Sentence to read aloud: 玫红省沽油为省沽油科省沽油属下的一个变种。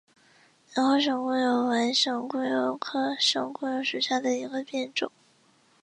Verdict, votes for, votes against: accepted, 3, 0